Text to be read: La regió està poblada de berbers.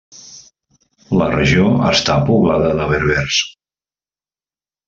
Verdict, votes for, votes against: accepted, 3, 0